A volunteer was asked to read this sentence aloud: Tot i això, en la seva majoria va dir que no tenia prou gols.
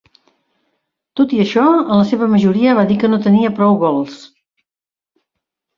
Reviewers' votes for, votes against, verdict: 3, 0, accepted